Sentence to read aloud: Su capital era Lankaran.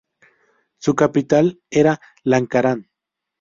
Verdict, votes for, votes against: accepted, 6, 0